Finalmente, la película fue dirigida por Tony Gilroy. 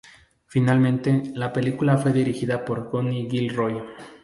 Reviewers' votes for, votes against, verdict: 2, 0, accepted